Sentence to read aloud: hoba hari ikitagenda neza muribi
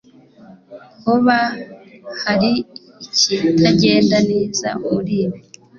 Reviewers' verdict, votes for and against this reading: accepted, 2, 0